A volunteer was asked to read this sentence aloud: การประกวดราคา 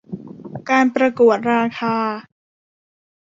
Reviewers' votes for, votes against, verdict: 2, 0, accepted